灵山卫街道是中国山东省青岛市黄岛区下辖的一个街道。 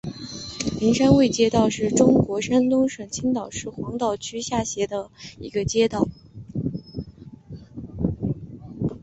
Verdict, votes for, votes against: accepted, 3, 2